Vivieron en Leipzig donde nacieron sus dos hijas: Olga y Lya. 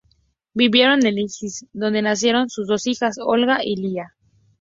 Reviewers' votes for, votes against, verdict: 2, 0, accepted